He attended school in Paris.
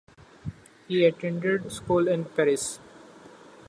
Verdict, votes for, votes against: accepted, 2, 1